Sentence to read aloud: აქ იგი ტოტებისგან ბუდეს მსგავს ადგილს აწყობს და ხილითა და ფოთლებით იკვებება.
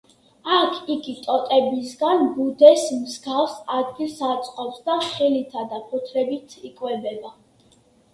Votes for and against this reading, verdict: 2, 1, accepted